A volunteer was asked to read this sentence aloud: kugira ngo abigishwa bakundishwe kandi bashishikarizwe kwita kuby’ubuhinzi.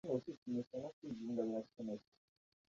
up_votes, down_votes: 0, 2